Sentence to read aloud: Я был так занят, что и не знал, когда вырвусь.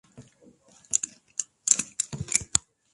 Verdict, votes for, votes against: rejected, 1, 2